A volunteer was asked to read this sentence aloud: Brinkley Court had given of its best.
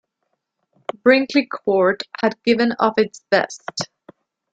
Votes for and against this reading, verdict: 2, 0, accepted